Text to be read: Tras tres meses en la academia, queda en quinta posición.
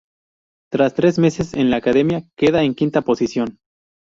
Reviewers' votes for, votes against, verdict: 0, 2, rejected